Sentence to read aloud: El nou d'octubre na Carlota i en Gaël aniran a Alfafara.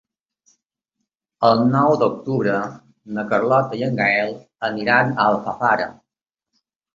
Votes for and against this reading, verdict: 3, 0, accepted